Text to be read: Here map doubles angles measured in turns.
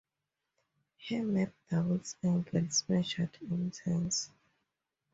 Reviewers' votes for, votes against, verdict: 2, 0, accepted